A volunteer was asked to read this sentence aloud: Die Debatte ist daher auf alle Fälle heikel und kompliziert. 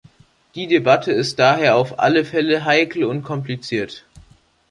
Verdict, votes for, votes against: accepted, 3, 0